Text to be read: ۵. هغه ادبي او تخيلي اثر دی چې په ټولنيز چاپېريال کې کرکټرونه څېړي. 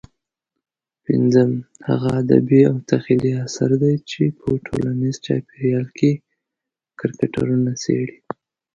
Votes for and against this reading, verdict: 0, 2, rejected